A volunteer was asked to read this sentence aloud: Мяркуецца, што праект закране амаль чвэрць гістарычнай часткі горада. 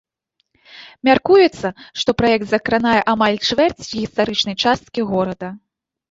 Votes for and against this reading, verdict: 0, 3, rejected